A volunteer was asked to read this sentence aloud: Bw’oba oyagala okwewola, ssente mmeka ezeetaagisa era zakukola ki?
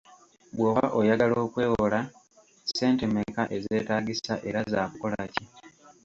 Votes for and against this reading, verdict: 2, 0, accepted